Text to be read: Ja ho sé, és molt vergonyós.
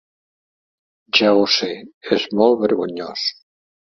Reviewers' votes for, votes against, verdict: 3, 0, accepted